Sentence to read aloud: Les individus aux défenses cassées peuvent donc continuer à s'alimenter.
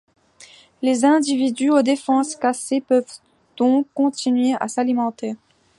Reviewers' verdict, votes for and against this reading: rejected, 1, 2